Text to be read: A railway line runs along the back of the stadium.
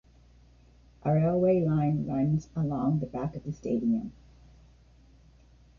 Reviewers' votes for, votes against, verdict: 1, 2, rejected